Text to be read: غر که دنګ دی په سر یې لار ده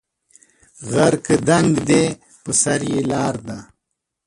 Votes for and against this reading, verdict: 2, 0, accepted